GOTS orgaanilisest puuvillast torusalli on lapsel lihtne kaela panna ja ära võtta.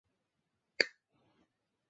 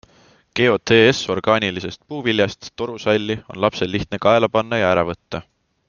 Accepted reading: second